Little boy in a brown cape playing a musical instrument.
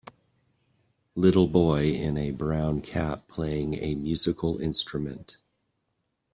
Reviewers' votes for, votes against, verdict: 1, 2, rejected